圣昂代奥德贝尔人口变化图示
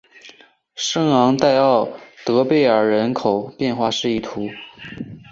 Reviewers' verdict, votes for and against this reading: accepted, 2, 0